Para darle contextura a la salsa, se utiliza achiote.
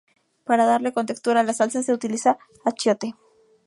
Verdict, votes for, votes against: accepted, 4, 0